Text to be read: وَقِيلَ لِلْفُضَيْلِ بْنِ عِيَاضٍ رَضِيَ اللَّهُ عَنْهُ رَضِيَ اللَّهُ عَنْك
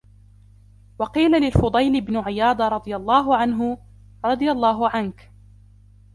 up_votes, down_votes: 2, 1